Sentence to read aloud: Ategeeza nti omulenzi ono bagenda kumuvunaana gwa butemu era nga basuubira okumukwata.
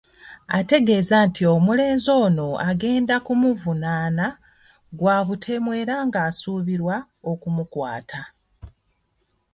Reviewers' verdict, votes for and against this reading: rejected, 1, 2